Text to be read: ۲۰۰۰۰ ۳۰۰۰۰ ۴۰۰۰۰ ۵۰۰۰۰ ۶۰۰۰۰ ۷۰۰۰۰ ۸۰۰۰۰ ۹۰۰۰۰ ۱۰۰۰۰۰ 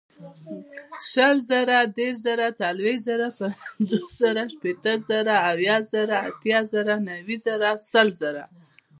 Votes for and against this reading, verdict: 0, 2, rejected